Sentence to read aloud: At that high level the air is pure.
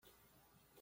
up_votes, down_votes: 0, 2